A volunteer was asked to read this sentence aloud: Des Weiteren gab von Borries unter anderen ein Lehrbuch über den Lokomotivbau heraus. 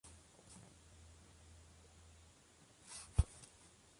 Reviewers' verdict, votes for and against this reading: rejected, 0, 2